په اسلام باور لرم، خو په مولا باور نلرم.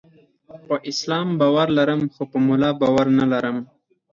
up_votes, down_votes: 2, 4